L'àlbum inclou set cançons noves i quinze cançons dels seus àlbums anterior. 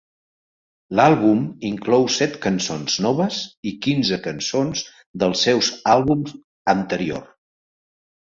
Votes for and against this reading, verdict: 2, 0, accepted